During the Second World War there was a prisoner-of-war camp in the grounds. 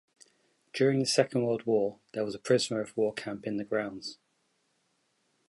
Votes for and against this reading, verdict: 2, 0, accepted